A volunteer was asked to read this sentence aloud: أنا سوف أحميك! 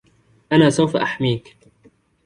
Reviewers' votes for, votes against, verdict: 2, 1, accepted